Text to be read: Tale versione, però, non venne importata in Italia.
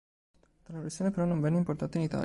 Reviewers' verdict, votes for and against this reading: rejected, 1, 2